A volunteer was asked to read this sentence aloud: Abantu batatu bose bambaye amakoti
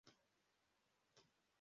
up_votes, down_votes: 0, 2